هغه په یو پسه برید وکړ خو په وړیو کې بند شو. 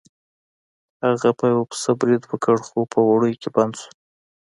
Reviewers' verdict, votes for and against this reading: accepted, 2, 0